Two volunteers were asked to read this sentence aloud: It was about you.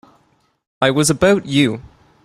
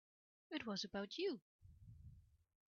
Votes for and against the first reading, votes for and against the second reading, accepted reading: 0, 2, 2, 0, second